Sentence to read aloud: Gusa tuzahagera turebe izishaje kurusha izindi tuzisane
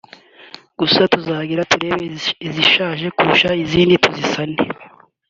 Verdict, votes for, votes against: rejected, 0, 2